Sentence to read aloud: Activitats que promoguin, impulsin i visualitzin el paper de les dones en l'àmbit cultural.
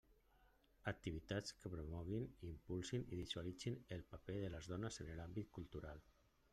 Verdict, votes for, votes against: rejected, 0, 2